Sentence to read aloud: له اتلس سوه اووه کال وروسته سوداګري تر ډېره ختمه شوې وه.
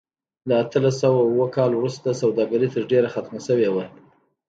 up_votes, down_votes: 2, 1